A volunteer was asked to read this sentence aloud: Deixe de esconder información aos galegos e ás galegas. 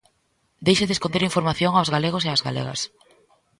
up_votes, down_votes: 1, 2